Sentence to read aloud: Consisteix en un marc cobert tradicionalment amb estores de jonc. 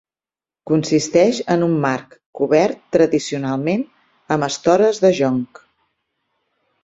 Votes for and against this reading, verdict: 4, 0, accepted